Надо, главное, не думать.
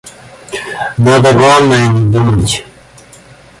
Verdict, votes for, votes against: rejected, 0, 2